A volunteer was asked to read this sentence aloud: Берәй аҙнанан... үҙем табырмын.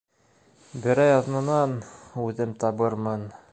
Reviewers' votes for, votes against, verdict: 2, 0, accepted